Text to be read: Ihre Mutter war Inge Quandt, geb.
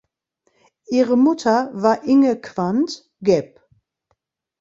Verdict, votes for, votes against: rejected, 0, 2